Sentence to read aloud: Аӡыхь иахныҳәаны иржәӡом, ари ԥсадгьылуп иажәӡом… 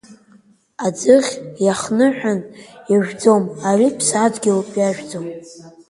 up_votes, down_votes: 2, 0